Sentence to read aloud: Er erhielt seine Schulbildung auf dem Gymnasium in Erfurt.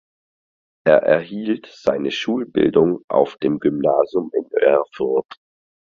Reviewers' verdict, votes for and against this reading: accepted, 4, 0